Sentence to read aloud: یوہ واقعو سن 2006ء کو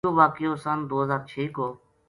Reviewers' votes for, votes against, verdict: 0, 2, rejected